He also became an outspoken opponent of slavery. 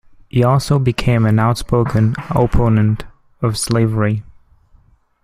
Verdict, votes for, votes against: rejected, 0, 2